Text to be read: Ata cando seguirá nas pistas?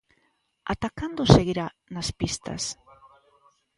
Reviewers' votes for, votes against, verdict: 2, 0, accepted